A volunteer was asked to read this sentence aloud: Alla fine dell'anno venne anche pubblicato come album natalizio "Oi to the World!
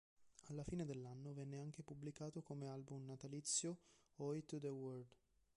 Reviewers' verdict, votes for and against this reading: rejected, 1, 2